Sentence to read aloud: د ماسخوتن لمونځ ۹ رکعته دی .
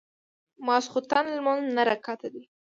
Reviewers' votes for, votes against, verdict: 0, 2, rejected